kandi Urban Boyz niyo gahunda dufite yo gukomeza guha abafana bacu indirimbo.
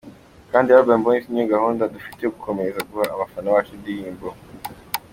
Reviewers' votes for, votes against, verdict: 2, 1, accepted